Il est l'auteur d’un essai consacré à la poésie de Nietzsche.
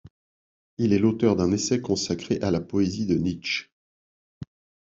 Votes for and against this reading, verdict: 2, 0, accepted